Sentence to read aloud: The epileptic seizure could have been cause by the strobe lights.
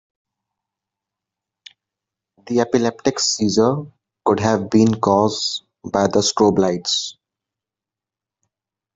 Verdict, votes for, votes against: accepted, 2, 0